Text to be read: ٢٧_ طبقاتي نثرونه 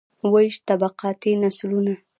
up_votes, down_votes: 0, 2